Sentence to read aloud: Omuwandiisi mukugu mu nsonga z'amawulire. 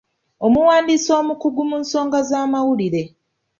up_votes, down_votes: 2, 0